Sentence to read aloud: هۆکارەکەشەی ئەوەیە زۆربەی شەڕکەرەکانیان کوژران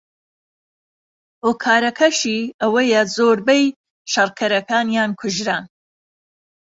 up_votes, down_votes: 2, 0